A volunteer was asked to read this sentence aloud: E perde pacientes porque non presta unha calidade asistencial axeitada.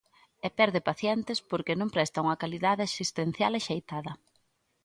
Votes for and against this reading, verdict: 2, 0, accepted